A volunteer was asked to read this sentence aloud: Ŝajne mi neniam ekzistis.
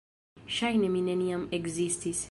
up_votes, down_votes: 2, 1